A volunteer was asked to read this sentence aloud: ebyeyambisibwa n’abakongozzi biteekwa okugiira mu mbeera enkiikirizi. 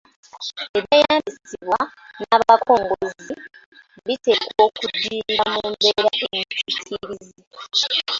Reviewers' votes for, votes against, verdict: 0, 2, rejected